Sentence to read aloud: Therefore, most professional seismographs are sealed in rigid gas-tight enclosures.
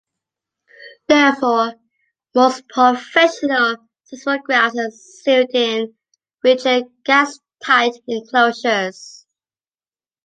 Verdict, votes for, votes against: accepted, 2, 1